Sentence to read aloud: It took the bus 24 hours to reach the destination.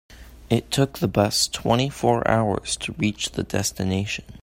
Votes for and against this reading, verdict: 0, 2, rejected